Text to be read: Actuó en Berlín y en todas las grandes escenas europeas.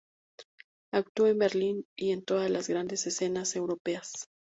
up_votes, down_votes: 2, 0